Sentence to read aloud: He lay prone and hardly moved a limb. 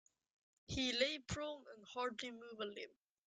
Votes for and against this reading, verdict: 1, 2, rejected